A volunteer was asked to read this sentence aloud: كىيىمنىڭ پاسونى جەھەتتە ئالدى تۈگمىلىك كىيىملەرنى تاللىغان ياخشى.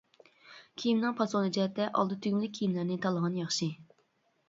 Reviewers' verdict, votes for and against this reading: accepted, 2, 0